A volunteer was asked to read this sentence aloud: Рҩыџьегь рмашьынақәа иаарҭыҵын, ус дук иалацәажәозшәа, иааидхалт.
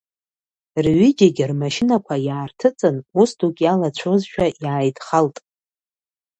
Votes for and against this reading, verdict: 1, 2, rejected